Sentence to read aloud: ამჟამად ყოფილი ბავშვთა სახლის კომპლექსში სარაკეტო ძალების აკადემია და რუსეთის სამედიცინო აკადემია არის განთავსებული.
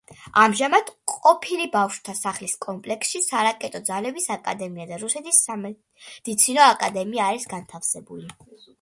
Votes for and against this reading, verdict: 2, 0, accepted